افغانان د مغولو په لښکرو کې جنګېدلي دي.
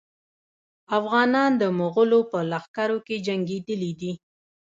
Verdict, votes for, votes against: accepted, 2, 0